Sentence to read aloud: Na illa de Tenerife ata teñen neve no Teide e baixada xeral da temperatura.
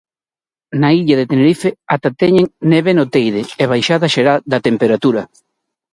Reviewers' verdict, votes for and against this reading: accepted, 4, 0